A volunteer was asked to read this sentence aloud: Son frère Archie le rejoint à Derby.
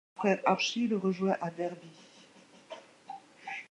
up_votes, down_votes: 0, 2